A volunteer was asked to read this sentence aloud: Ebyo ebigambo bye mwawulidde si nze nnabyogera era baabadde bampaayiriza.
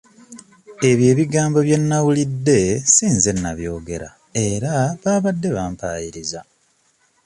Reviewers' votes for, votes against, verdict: 1, 2, rejected